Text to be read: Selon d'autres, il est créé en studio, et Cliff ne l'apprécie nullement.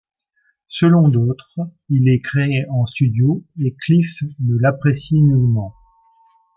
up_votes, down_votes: 2, 0